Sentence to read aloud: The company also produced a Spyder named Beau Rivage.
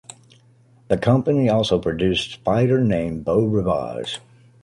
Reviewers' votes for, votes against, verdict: 0, 2, rejected